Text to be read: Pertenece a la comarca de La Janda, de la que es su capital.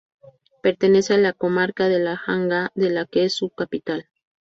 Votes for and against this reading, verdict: 2, 0, accepted